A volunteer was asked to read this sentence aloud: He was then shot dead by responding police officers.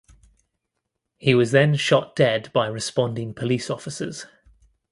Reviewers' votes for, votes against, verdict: 2, 0, accepted